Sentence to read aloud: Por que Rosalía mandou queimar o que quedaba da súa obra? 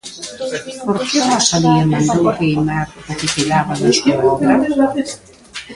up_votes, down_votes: 0, 2